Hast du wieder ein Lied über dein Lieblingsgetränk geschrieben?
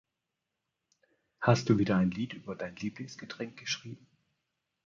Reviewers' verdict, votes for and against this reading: accepted, 2, 0